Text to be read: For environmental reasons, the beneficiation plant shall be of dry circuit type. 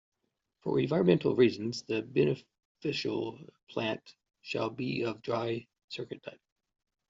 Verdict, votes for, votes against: rejected, 0, 2